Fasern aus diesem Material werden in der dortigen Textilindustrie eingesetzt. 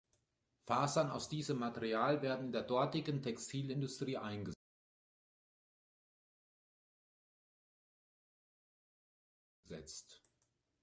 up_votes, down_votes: 1, 2